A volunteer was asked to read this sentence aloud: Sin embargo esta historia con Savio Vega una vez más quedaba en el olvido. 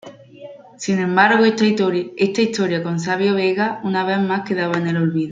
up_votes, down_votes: 1, 2